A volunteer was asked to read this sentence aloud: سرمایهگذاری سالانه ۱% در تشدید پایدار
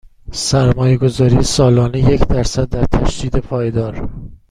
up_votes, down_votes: 0, 2